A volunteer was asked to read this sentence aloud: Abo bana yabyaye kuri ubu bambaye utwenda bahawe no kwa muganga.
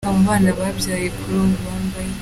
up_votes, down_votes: 1, 2